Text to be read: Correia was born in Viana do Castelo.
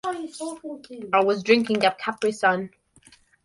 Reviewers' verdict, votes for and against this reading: rejected, 1, 2